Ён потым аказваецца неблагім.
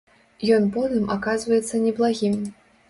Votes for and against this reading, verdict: 1, 2, rejected